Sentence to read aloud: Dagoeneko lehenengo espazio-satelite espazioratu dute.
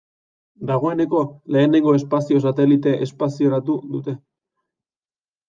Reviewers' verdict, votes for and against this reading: accepted, 2, 0